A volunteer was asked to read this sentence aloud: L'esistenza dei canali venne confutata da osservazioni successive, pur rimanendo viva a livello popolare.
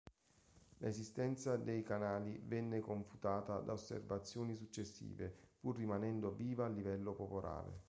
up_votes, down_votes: 2, 1